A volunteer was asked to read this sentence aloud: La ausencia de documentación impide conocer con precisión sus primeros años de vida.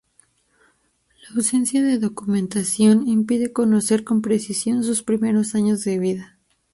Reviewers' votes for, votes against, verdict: 2, 0, accepted